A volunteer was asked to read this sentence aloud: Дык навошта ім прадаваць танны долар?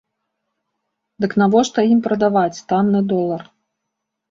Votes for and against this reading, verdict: 2, 0, accepted